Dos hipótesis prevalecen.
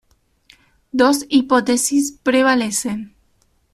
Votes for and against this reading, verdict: 2, 0, accepted